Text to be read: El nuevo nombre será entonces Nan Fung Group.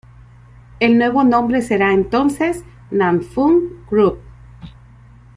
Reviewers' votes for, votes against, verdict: 3, 0, accepted